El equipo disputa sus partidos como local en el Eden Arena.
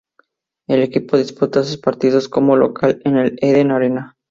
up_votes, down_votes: 2, 0